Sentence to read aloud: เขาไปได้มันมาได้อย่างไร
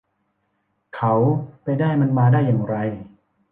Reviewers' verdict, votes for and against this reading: accepted, 3, 0